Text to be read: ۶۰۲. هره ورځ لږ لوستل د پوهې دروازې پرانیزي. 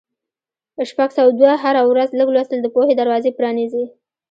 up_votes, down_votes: 0, 2